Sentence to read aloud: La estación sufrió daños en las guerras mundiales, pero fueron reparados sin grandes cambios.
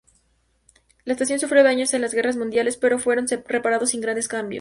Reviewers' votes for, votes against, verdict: 2, 0, accepted